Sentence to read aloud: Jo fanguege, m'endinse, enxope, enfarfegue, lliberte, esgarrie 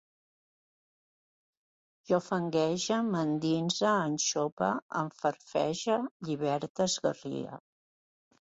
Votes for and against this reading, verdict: 1, 2, rejected